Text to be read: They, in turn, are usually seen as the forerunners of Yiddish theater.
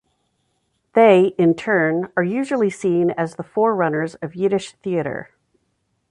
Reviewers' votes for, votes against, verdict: 2, 0, accepted